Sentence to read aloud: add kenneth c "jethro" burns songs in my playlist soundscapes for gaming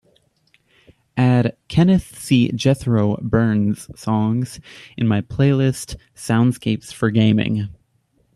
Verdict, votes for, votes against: accepted, 2, 0